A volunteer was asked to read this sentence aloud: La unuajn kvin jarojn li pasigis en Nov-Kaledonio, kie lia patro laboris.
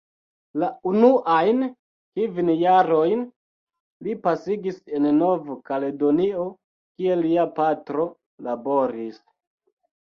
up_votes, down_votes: 0, 2